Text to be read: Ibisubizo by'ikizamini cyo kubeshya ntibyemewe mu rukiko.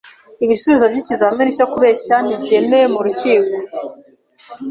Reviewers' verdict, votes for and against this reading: accepted, 2, 0